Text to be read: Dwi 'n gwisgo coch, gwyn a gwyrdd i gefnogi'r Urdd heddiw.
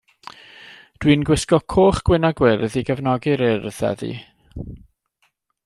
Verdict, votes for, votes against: accepted, 2, 0